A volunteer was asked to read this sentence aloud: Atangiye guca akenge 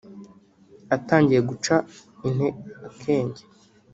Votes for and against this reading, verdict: 1, 2, rejected